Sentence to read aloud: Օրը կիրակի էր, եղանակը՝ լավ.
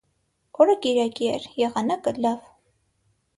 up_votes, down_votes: 6, 0